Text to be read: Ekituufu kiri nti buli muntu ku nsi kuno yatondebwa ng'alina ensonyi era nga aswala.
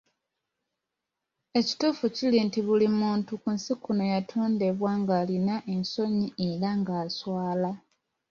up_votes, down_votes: 2, 1